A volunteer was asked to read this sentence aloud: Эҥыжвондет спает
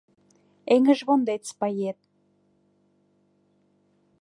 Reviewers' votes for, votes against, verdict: 2, 0, accepted